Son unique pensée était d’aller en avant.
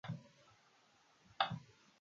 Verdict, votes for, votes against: rejected, 0, 2